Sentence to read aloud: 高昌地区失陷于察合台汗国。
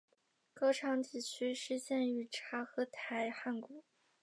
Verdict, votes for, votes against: rejected, 1, 2